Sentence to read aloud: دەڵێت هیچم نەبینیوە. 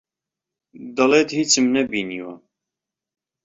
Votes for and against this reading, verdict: 2, 0, accepted